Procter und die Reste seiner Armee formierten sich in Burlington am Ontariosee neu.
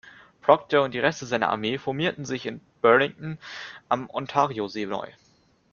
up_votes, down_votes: 2, 0